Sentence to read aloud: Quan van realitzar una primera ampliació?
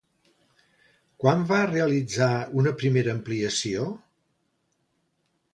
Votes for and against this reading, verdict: 1, 2, rejected